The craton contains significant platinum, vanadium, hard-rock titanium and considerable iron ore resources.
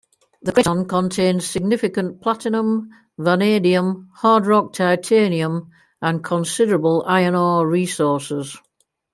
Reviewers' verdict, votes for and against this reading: accepted, 2, 0